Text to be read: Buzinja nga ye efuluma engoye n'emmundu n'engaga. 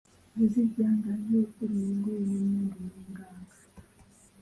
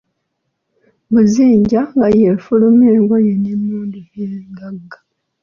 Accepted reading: second